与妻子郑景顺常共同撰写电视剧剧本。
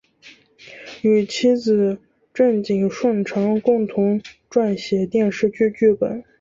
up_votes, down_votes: 2, 0